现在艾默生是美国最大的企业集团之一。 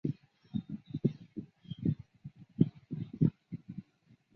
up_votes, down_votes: 1, 5